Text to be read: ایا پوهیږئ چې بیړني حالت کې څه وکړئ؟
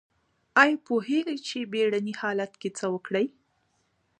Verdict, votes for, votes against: accepted, 2, 1